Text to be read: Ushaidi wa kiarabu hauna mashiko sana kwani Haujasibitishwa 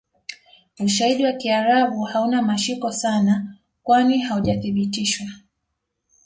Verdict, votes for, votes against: accepted, 2, 0